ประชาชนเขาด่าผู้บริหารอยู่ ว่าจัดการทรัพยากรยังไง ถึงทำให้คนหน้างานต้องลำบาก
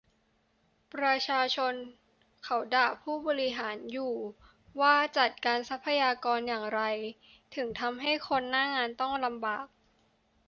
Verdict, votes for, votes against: rejected, 0, 3